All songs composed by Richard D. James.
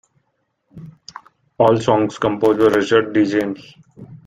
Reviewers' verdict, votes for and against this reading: accepted, 2, 1